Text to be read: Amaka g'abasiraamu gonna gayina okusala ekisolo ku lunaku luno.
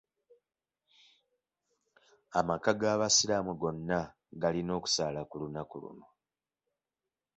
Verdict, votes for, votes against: rejected, 1, 2